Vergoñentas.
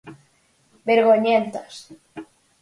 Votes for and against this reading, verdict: 4, 0, accepted